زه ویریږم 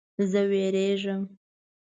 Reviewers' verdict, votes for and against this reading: accepted, 2, 0